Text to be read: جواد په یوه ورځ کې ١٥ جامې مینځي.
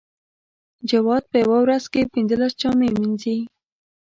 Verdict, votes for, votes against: rejected, 0, 2